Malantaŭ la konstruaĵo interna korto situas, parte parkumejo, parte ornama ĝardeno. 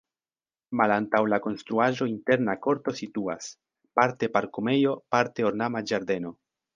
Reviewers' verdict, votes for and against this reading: accepted, 2, 0